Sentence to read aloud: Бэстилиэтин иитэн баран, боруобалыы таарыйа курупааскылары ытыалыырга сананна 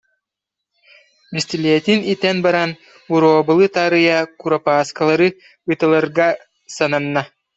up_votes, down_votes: 0, 2